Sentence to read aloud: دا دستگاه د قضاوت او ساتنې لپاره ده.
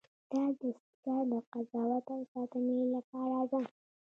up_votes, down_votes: 0, 2